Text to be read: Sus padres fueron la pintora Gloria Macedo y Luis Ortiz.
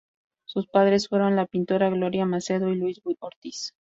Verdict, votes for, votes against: rejected, 0, 4